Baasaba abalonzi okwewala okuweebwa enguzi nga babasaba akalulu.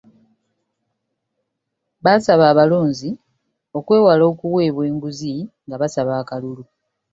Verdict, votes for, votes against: accepted, 3, 1